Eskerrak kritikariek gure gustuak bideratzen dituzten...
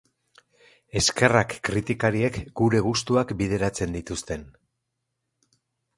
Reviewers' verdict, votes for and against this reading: accepted, 4, 0